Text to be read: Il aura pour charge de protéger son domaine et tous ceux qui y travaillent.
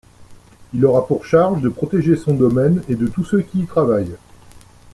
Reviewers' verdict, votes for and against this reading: rejected, 1, 2